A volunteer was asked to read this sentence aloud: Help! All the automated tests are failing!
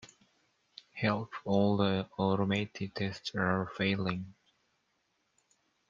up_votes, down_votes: 2, 1